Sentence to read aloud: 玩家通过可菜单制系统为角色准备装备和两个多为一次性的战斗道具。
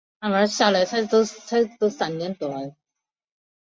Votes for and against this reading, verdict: 0, 3, rejected